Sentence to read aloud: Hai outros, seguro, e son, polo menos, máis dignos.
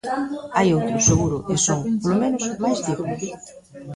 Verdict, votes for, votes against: rejected, 1, 2